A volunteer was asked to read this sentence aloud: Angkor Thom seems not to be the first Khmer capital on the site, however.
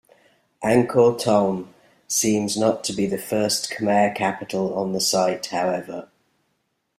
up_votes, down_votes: 2, 0